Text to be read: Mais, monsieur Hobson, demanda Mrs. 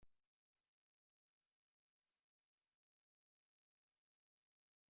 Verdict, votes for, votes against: rejected, 0, 3